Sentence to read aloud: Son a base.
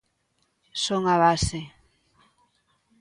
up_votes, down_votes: 2, 0